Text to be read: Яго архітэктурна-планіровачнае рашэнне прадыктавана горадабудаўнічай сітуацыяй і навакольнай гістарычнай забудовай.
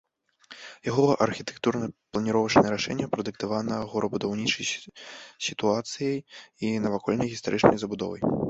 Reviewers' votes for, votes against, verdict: 1, 2, rejected